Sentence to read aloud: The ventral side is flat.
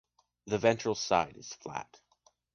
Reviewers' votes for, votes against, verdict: 2, 0, accepted